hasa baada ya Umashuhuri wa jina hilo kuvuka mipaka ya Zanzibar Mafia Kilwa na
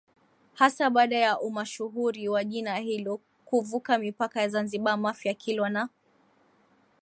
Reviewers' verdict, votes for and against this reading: accepted, 5, 3